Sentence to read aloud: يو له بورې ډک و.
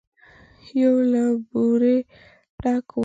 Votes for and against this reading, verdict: 2, 1, accepted